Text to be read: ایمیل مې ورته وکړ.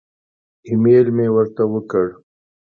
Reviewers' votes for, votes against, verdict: 2, 0, accepted